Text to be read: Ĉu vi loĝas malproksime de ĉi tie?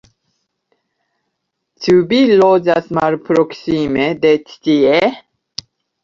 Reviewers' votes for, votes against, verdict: 1, 2, rejected